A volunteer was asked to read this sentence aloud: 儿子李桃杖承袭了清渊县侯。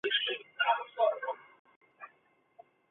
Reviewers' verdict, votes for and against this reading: rejected, 0, 2